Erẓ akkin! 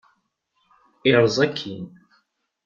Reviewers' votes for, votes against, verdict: 0, 2, rejected